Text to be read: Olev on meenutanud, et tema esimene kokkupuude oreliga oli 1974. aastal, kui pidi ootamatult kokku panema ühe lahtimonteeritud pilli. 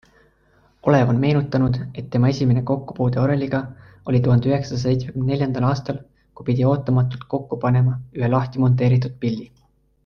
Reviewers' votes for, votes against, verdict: 0, 2, rejected